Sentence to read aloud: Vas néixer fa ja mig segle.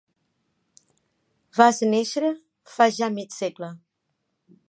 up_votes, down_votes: 2, 0